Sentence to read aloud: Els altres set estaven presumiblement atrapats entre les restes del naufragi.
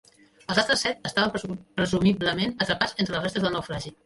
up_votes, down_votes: 0, 2